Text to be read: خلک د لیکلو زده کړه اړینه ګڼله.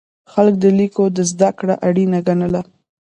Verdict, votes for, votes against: rejected, 1, 2